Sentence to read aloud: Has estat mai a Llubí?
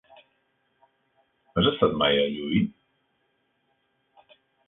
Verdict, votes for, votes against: rejected, 1, 2